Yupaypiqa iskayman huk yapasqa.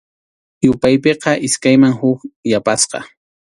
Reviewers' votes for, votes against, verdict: 2, 0, accepted